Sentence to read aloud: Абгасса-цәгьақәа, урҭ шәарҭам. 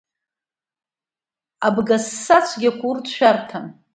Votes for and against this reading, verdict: 3, 0, accepted